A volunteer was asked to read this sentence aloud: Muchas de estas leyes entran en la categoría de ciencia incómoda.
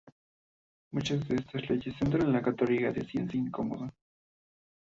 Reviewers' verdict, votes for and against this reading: rejected, 0, 2